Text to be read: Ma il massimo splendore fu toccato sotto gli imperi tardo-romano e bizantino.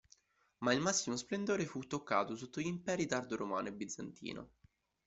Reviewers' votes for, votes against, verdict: 2, 0, accepted